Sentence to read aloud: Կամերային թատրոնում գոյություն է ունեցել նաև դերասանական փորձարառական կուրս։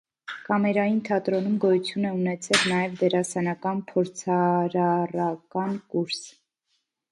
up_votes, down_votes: 0, 2